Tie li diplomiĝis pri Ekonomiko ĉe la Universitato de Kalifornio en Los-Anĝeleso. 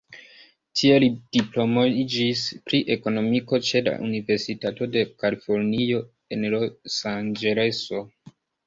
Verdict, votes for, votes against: rejected, 0, 2